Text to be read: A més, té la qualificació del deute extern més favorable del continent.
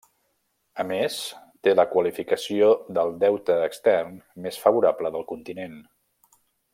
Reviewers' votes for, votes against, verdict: 1, 2, rejected